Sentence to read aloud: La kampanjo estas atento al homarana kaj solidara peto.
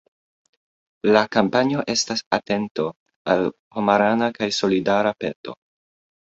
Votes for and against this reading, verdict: 2, 0, accepted